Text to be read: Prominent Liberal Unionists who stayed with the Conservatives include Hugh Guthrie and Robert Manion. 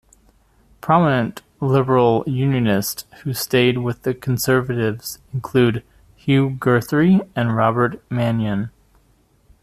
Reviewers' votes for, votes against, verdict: 0, 2, rejected